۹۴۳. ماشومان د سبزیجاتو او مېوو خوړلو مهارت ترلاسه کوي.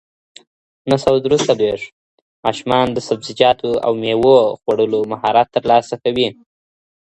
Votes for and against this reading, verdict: 0, 2, rejected